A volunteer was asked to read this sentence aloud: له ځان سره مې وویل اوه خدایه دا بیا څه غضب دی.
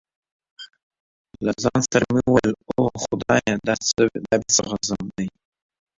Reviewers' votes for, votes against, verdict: 1, 2, rejected